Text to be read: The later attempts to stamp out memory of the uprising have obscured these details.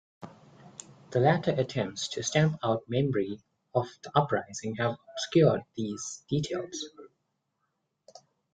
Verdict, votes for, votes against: rejected, 0, 2